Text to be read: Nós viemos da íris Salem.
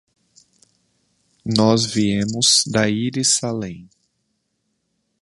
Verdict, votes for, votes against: accepted, 2, 0